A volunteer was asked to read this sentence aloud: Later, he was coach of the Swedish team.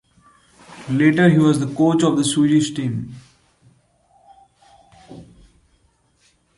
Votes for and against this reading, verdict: 2, 1, accepted